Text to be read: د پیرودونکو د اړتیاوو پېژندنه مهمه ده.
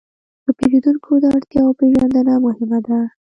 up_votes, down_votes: 1, 2